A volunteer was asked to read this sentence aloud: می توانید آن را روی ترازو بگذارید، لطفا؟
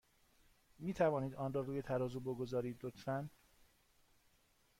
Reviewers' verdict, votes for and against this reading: accepted, 2, 0